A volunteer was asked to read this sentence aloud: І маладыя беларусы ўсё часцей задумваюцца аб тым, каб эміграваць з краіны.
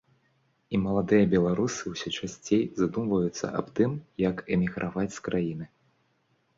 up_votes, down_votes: 0, 2